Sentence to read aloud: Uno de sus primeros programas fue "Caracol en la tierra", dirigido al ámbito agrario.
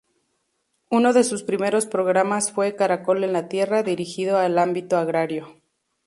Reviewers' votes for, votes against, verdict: 2, 0, accepted